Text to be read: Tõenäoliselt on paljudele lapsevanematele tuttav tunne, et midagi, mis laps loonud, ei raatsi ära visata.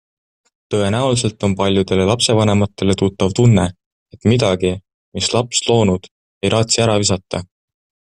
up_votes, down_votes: 2, 0